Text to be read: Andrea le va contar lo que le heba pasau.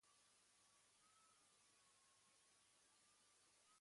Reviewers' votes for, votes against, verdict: 1, 2, rejected